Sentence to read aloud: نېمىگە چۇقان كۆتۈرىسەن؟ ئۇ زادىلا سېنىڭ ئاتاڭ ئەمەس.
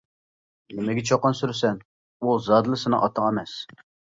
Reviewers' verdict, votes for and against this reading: rejected, 1, 2